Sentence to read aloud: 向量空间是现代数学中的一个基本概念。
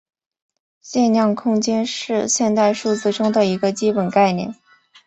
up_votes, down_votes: 2, 0